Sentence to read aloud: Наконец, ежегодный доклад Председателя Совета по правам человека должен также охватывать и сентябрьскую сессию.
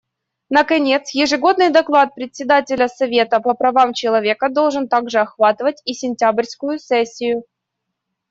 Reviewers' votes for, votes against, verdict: 2, 0, accepted